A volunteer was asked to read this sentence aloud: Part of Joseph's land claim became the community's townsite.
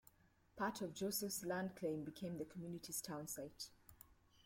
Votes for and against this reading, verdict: 2, 0, accepted